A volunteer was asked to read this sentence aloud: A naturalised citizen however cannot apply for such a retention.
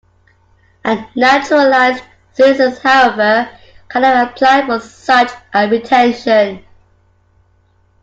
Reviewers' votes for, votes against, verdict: 1, 2, rejected